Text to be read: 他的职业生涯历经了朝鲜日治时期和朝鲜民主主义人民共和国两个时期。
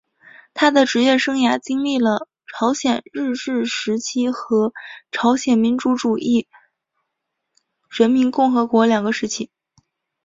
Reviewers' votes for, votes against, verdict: 3, 0, accepted